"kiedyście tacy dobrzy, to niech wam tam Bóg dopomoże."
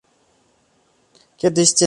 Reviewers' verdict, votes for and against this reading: rejected, 0, 2